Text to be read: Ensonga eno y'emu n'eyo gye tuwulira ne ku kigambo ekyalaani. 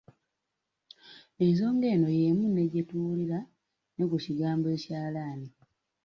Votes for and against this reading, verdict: 1, 2, rejected